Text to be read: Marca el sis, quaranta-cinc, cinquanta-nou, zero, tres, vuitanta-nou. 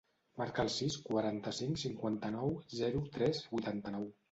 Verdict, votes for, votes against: accepted, 2, 1